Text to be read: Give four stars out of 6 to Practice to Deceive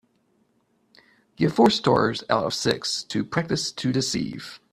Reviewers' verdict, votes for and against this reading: rejected, 0, 2